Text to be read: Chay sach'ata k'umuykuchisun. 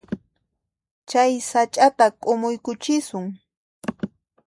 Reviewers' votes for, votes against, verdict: 2, 0, accepted